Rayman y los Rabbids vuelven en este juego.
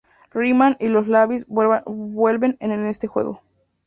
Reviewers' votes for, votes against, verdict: 0, 2, rejected